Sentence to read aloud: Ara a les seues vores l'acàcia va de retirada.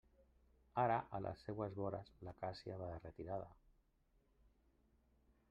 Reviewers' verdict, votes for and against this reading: rejected, 1, 2